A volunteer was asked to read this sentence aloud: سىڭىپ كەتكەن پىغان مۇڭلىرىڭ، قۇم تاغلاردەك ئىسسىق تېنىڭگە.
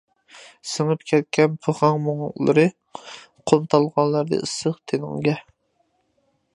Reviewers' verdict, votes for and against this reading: rejected, 0, 2